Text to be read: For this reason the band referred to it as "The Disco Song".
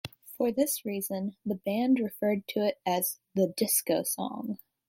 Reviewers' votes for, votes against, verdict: 2, 0, accepted